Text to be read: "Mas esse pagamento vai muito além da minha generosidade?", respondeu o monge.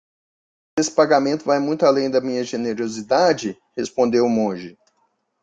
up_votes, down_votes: 0, 2